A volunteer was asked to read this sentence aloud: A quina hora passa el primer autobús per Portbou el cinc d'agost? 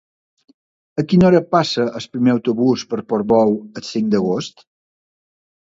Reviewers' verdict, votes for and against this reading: rejected, 1, 2